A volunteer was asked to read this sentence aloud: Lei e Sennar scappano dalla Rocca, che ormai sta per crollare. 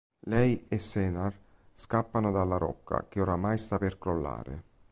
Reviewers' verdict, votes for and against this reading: rejected, 1, 2